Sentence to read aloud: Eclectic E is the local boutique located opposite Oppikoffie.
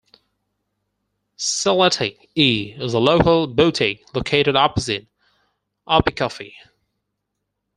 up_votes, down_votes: 4, 0